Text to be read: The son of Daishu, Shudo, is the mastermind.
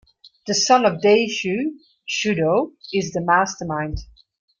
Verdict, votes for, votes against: accepted, 2, 0